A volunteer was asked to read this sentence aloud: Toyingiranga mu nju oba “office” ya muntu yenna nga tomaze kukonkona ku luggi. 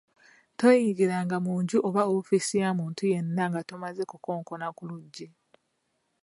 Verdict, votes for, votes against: accepted, 2, 1